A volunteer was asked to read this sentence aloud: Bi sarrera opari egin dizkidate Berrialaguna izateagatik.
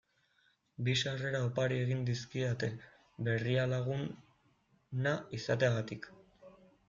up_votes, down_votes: 1, 2